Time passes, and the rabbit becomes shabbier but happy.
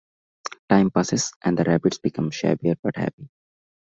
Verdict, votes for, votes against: accepted, 2, 0